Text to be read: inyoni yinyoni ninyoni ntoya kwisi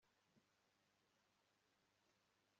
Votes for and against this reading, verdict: 1, 2, rejected